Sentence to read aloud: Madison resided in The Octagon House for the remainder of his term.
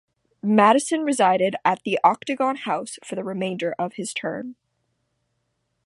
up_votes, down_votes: 1, 2